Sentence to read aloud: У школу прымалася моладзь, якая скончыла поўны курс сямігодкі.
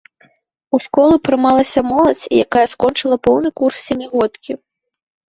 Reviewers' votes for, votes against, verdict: 1, 2, rejected